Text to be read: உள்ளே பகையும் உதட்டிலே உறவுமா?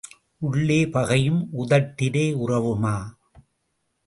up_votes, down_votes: 2, 0